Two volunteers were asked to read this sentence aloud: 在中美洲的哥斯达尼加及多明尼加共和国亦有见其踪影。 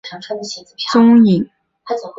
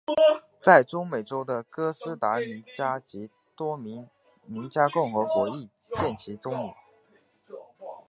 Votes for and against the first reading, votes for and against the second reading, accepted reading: 0, 3, 3, 1, second